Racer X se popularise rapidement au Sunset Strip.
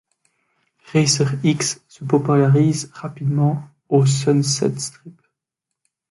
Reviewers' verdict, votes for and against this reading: rejected, 0, 2